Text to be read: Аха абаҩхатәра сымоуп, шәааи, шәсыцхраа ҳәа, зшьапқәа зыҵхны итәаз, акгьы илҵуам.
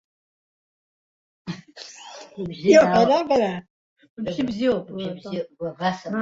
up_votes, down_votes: 0, 2